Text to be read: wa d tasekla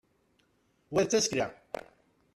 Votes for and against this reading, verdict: 0, 2, rejected